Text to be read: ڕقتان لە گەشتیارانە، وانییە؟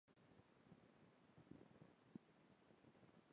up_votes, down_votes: 0, 2